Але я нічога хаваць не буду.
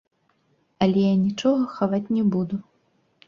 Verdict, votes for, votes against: rejected, 0, 2